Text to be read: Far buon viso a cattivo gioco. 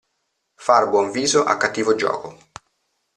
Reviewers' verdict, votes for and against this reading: accepted, 2, 0